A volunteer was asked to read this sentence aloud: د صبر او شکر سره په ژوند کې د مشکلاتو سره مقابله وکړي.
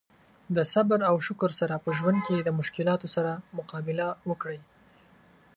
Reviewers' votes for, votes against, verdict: 0, 2, rejected